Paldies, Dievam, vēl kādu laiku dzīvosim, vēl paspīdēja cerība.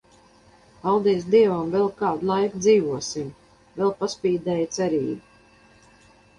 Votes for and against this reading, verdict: 4, 0, accepted